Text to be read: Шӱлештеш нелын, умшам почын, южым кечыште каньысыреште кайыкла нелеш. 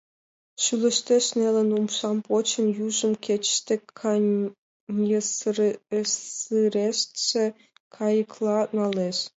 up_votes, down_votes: 1, 2